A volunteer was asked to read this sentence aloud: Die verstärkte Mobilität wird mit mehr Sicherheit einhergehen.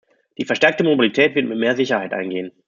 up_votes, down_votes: 1, 2